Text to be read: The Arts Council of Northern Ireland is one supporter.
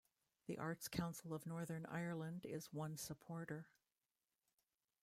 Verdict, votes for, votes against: rejected, 0, 2